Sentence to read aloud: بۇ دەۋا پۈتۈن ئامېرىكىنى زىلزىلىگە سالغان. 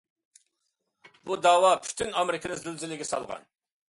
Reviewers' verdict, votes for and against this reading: accepted, 2, 0